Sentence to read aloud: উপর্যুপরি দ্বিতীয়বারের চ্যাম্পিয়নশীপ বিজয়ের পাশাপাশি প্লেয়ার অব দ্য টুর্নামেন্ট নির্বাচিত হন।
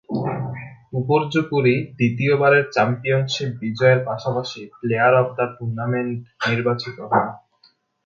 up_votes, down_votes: 3, 0